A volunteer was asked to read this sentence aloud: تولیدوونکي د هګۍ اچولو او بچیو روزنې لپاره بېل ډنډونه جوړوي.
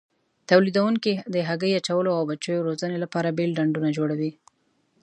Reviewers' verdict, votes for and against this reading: accepted, 2, 0